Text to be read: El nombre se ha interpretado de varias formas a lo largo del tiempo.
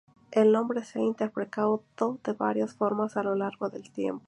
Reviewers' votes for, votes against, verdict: 0, 4, rejected